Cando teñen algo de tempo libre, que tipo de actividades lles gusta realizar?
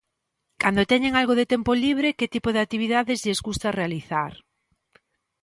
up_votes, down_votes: 2, 0